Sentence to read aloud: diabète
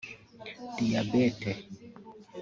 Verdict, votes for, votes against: rejected, 0, 2